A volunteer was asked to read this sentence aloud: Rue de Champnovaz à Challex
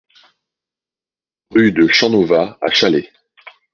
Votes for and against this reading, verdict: 2, 0, accepted